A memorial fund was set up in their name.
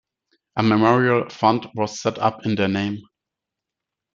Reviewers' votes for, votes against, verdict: 2, 0, accepted